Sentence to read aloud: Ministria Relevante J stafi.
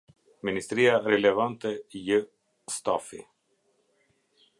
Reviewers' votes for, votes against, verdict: 0, 2, rejected